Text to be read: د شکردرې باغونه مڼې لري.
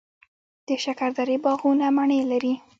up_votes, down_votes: 2, 0